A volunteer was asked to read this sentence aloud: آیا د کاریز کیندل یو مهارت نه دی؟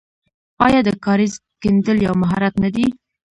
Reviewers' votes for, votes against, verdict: 1, 2, rejected